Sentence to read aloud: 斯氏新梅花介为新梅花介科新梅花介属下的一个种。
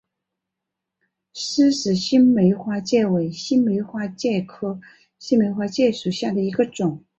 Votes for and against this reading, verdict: 2, 0, accepted